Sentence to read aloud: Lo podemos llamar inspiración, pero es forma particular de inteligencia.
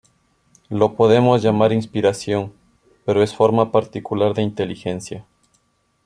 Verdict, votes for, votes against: rejected, 0, 2